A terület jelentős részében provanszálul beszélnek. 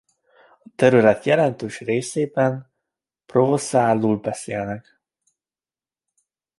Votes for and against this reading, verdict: 1, 2, rejected